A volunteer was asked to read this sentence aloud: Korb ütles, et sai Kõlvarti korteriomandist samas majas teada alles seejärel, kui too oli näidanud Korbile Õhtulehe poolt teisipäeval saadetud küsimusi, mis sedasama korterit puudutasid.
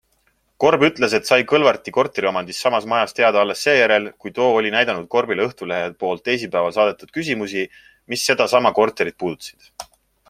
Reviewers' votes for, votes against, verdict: 2, 0, accepted